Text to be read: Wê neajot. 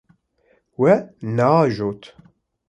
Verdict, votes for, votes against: rejected, 1, 2